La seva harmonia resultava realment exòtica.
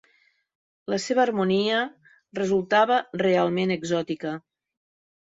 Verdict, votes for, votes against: accepted, 3, 0